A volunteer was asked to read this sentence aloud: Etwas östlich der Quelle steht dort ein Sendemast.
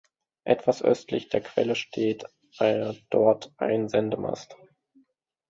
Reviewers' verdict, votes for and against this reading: rejected, 0, 2